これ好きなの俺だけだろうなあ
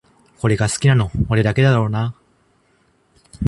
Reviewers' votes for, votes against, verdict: 0, 2, rejected